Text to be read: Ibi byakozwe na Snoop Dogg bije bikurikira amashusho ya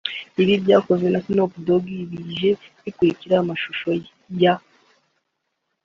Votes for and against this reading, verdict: 2, 4, rejected